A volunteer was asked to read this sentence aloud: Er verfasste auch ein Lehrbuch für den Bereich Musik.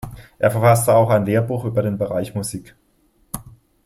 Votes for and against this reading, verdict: 0, 2, rejected